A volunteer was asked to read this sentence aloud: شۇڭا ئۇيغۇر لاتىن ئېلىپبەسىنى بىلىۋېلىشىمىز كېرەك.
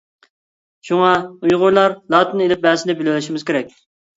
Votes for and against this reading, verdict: 1, 2, rejected